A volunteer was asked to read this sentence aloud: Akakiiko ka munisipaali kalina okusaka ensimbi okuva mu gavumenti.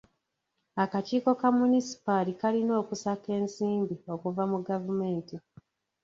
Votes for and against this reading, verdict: 2, 0, accepted